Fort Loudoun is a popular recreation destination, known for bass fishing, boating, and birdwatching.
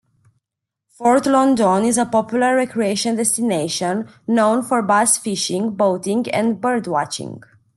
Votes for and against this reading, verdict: 1, 2, rejected